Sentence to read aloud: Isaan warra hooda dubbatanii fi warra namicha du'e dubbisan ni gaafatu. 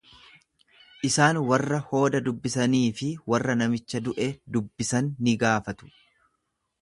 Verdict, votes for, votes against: rejected, 1, 2